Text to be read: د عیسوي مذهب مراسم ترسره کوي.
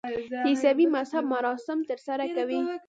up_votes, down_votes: 2, 1